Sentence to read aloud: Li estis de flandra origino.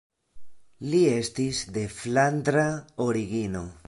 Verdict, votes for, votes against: accepted, 3, 0